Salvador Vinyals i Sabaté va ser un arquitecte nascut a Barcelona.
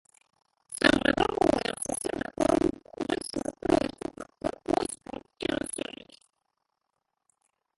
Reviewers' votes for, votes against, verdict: 0, 2, rejected